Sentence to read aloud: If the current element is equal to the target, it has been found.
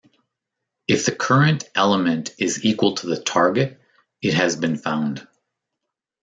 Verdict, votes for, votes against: accepted, 2, 0